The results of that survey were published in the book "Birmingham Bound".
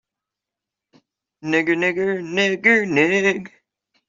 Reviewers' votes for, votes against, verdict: 0, 2, rejected